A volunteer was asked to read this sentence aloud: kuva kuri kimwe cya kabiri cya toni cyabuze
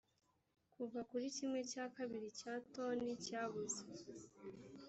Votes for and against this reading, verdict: 0, 2, rejected